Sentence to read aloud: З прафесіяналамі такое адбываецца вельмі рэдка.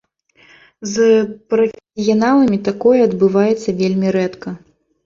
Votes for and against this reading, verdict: 0, 2, rejected